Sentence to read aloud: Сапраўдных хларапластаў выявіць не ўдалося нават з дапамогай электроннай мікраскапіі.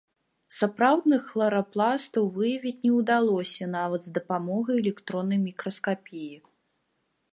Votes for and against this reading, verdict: 2, 1, accepted